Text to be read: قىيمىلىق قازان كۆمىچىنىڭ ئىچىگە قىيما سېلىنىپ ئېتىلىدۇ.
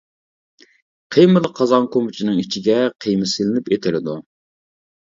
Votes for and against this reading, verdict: 1, 2, rejected